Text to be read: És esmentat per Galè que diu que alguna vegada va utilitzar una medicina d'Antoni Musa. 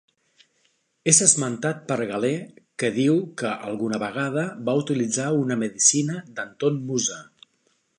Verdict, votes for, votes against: rejected, 0, 2